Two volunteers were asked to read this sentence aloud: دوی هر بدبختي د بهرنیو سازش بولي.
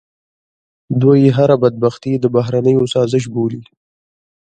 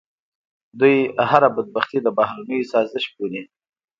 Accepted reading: second